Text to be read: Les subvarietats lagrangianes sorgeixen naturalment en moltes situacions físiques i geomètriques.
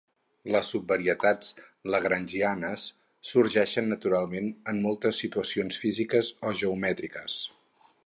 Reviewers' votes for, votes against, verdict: 2, 2, rejected